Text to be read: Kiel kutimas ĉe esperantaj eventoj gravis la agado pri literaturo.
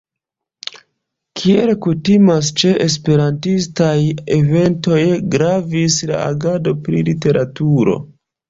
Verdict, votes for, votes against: accepted, 2, 1